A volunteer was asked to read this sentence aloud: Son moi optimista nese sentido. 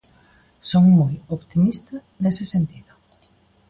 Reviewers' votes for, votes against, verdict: 1, 2, rejected